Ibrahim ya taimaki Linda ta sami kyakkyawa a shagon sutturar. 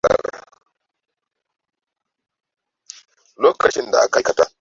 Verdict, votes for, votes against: rejected, 0, 2